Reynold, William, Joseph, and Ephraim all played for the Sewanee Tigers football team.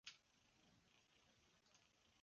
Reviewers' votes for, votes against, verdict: 0, 3, rejected